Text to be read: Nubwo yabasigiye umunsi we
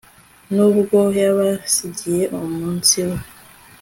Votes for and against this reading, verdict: 2, 0, accepted